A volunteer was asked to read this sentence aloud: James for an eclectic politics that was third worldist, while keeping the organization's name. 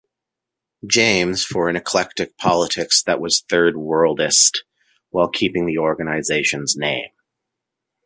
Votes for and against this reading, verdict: 2, 1, accepted